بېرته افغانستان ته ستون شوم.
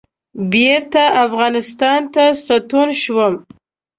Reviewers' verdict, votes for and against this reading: accepted, 2, 1